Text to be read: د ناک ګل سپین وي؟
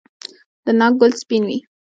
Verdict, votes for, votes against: rejected, 0, 2